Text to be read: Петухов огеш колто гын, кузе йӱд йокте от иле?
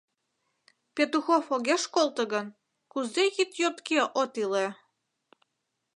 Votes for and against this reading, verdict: 1, 2, rejected